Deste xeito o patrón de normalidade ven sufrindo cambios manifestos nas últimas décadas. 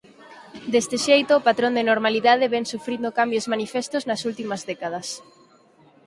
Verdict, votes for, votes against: rejected, 0, 4